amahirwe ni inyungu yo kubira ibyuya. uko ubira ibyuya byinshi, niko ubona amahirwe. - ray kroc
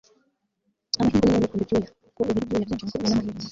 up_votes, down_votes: 0, 2